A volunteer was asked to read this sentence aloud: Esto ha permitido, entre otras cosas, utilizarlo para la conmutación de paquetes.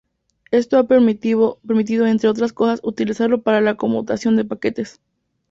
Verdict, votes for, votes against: rejected, 0, 2